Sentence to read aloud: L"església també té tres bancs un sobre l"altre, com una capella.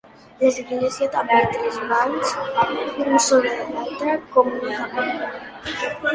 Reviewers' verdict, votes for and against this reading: rejected, 2, 3